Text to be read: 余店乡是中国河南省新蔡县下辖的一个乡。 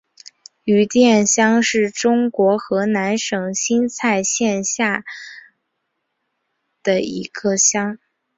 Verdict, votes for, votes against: rejected, 0, 2